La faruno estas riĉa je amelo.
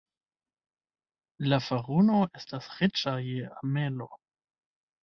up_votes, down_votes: 1, 2